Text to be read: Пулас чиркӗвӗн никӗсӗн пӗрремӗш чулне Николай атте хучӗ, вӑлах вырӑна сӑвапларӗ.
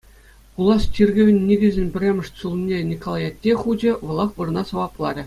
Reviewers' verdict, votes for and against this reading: accepted, 2, 0